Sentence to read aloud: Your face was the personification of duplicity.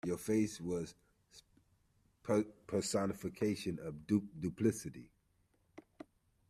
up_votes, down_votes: 0, 2